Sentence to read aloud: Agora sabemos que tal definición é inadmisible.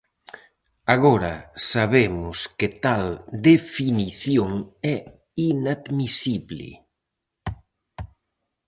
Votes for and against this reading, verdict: 4, 0, accepted